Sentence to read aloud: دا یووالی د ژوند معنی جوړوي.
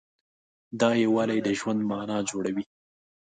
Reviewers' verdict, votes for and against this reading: accepted, 2, 0